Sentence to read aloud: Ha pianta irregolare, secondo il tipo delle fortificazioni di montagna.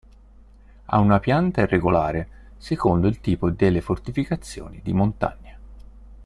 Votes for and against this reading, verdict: 0, 2, rejected